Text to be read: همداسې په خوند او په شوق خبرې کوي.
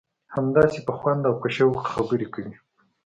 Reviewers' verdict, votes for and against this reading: accepted, 2, 0